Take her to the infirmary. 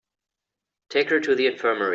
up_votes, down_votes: 1, 2